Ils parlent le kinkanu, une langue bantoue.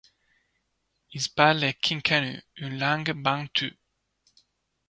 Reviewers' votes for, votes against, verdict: 2, 0, accepted